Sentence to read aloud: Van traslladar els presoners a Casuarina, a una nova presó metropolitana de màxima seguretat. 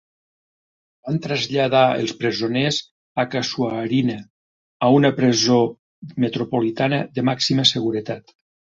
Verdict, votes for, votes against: rejected, 1, 2